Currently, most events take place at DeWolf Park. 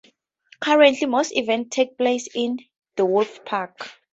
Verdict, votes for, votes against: rejected, 0, 2